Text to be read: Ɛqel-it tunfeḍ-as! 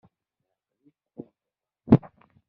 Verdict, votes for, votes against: rejected, 0, 2